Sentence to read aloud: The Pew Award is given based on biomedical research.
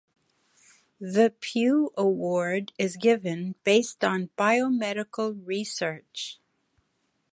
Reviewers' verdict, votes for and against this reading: accepted, 2, 0